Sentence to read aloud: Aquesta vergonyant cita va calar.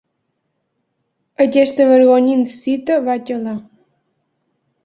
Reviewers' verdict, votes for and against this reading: accepted, 3, 0